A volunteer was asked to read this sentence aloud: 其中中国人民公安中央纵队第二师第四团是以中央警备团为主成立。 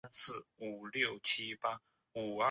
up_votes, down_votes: 0, 3